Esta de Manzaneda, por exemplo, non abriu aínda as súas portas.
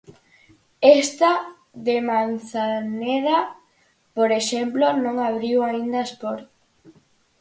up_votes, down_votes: 0, 4